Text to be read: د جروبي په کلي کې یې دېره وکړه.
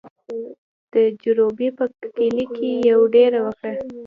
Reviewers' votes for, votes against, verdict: 2, 0, accepted